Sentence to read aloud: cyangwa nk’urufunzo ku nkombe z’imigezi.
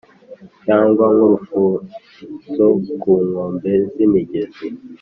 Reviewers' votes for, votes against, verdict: 2, 0, accepted